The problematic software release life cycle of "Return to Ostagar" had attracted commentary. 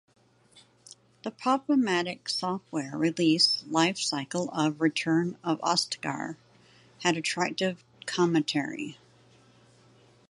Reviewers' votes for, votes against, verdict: 0, 2, rejected